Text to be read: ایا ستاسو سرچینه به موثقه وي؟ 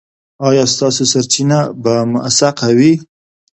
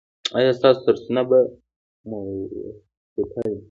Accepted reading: first